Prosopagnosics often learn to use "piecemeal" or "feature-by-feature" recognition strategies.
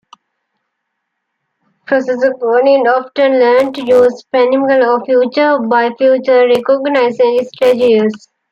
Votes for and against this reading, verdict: 1, 2, rejected